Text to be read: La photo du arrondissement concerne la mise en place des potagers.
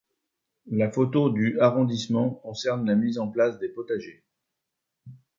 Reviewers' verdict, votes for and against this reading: accepted, 2, 0